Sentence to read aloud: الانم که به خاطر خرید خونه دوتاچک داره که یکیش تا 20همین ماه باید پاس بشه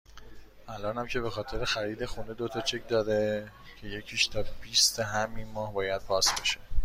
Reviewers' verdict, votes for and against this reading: rejected, 0, 2